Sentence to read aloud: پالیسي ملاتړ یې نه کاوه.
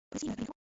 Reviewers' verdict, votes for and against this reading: rejected, 0, 2